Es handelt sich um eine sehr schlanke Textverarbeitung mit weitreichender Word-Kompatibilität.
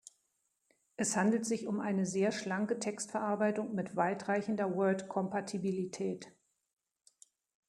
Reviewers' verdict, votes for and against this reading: accepted, 2, 0